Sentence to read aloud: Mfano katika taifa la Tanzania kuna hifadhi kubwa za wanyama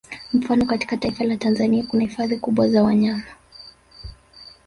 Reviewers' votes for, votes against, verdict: 2, 0, accepted